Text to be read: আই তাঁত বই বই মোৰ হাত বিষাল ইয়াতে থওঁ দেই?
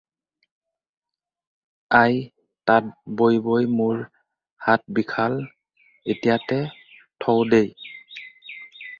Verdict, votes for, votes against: rejected, 2, 4